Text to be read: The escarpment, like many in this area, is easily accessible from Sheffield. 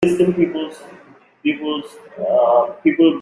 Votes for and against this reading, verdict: 0, 2, rejected